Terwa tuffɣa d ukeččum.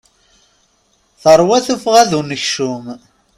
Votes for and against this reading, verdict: 1, 2, rejected